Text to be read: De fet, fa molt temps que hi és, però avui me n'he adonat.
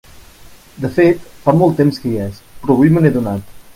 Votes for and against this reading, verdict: 2, 0, accepted